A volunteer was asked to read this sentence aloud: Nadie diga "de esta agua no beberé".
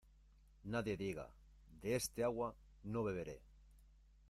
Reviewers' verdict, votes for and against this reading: accepted, 2, 0